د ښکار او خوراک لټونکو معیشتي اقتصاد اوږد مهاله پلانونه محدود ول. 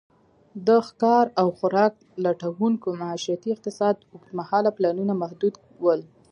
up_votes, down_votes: 0, 2